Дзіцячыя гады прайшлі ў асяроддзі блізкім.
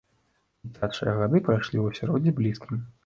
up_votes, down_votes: 1, 2